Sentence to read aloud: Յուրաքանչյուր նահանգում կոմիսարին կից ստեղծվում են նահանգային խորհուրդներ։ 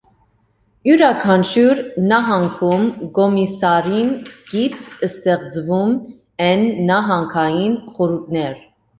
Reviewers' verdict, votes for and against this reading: rejected, 1, 2